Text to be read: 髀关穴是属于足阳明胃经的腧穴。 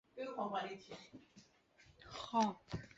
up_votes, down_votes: 0, 2